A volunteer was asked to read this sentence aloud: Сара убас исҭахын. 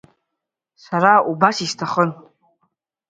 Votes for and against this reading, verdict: 2, 0, accepted